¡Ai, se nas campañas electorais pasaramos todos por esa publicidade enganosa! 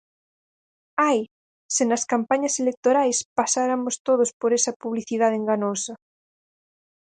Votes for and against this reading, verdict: 0, 6, rejected